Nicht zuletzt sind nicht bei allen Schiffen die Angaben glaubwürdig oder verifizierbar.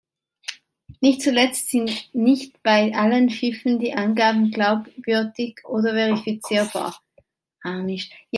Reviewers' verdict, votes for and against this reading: rejected, 0, 2